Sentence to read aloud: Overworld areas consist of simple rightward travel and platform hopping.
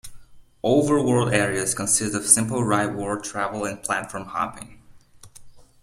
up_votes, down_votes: 2, 0